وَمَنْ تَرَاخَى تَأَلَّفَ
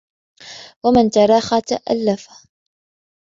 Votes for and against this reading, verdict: 3, 0, accepted